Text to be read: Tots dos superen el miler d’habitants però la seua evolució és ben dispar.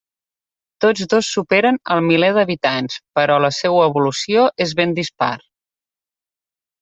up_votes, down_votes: 2, 0